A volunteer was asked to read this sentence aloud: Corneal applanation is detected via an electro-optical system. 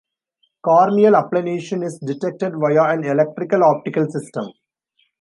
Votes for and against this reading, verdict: 1, 2, rejected